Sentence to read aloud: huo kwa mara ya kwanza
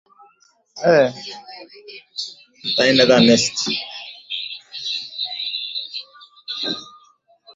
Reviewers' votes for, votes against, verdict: 1, 8, rejected